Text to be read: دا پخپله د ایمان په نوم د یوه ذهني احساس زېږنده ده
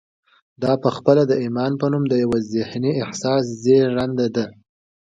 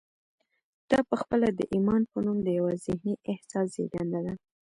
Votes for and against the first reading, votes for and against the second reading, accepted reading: 2, 1, 1, 2, first